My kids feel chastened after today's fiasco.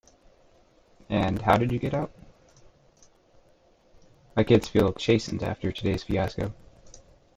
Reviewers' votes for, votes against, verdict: 0, 2, rejected